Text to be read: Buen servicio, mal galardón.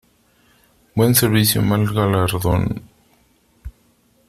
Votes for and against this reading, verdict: 2, 1, accepted